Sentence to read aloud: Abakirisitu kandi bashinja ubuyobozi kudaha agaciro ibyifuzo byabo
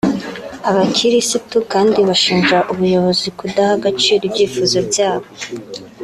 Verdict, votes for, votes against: accepted, 5, 0